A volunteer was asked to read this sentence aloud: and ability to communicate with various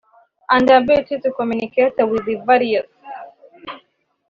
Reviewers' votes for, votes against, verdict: 1, 2, rejected